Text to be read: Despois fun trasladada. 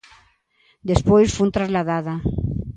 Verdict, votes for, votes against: accepted, 2, 0